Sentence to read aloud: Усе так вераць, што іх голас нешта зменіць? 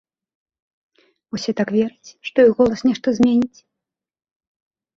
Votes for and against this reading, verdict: 2, 0, accepted